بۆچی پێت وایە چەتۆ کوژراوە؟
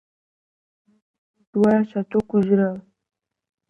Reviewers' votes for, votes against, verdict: 0, 2, rejected